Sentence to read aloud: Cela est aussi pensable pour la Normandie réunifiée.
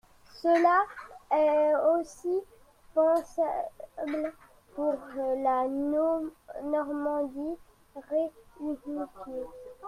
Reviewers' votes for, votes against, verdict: 1, 2, rejected